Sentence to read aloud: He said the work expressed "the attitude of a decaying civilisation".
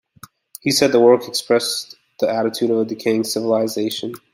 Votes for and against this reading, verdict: 2, 0, accepted